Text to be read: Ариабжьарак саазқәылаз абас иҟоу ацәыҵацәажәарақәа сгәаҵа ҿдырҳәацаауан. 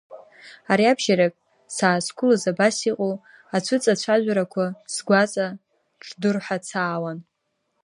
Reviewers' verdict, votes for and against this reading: rejected, 0, 2